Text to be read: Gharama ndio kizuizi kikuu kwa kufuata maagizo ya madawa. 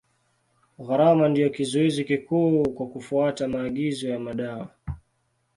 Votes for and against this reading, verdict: 2, 0, accepted